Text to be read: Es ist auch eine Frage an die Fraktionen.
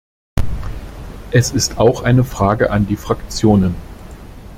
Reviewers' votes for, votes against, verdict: 2, 0, accepted